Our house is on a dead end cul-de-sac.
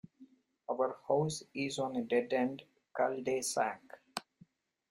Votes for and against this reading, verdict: 1, 2, rejected